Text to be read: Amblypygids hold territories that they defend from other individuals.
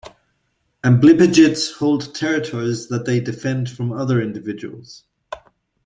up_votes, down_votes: 2, 0